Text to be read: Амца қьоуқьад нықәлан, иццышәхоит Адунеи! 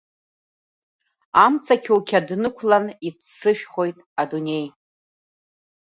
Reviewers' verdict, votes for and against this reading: accepted, 2, 0